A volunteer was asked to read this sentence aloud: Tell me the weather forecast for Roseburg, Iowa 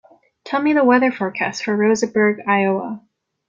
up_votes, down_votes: 2, 0